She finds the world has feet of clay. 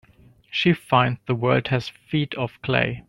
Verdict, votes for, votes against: rejected, 1, 2